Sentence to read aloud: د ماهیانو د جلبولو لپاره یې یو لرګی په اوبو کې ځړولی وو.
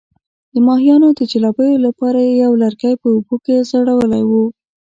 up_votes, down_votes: 0, 2